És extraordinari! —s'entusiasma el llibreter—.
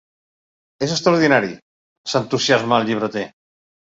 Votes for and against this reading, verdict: 2, 0, accepted